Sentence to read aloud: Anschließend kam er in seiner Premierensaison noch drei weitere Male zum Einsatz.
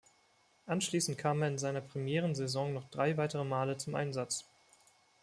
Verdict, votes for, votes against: accepted, 2, 0